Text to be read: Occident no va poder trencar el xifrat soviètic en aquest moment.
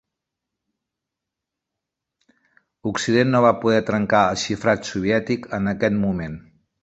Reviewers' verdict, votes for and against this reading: accepted, 5, 0